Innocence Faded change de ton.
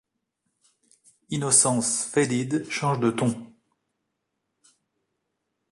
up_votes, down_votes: 1, 2